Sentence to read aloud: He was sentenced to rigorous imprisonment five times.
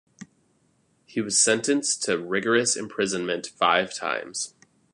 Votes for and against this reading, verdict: 2, 0, accepted